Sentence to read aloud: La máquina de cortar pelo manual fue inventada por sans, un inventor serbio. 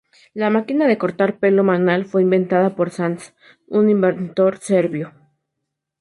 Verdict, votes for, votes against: rejected, 0, 2